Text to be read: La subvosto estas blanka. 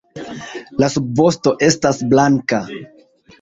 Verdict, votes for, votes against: rejected, 0, 2